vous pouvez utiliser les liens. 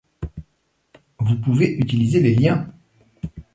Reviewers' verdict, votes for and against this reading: accepted, 2, 0